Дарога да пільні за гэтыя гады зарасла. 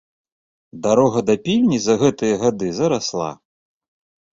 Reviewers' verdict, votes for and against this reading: accepted, 2, 0